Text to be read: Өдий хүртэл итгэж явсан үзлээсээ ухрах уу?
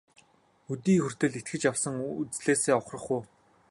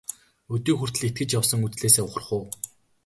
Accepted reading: second